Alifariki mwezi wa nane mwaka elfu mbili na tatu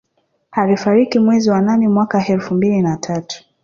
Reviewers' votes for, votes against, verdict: 0, 2, rejected